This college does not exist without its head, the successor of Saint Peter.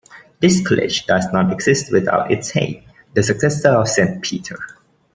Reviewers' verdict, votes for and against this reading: accepted, 2, 0